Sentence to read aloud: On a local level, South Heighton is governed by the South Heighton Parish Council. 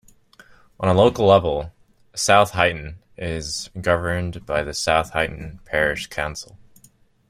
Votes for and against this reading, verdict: 2, 0, accepted